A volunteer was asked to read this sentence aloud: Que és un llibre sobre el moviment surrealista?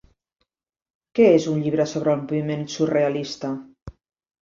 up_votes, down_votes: 1, 2